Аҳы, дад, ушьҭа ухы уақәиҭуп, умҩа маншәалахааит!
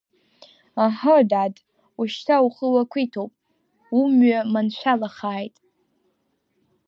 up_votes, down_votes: 1, 2